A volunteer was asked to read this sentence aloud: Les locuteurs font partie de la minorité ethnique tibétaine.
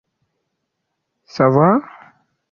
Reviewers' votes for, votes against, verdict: 0, 2, rejected